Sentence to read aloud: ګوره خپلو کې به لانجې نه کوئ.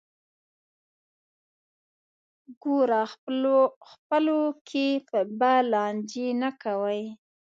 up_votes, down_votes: 1, 2